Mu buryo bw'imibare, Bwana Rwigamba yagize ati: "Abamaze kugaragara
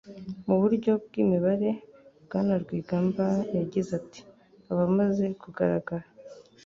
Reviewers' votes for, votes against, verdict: 2, 0, accepted